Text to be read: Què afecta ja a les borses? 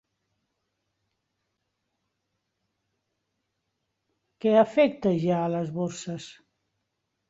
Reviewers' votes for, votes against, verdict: 2, 1, accepted